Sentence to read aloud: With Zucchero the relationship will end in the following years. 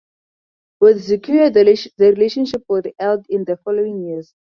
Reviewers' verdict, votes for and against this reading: rejected, 2, 4